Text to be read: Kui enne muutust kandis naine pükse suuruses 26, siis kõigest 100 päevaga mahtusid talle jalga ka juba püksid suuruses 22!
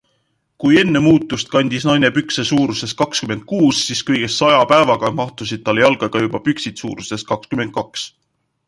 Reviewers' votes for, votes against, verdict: 0, 2, rejected